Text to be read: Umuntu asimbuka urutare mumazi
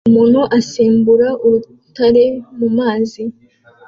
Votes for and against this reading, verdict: 2, 0, accepted